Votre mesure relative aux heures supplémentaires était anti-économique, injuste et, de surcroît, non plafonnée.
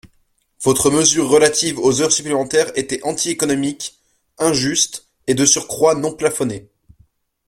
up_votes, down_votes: 2, 0